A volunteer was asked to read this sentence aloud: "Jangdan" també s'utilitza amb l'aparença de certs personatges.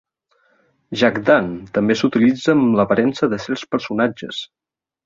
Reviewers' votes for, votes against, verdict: 0, 2, rejected